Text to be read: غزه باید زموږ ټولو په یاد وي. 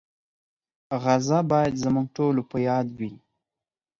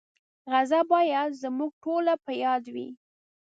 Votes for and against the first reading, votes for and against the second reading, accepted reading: 4, 0, 1, 2, first